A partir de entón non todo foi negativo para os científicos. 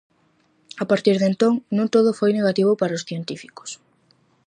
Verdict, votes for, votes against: accepted, 4, 0